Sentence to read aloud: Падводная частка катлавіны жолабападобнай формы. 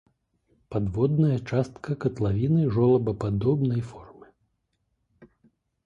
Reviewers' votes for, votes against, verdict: 2, 0, accepted